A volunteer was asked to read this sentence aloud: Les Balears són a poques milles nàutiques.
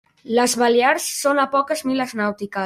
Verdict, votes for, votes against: rejected, 1, 2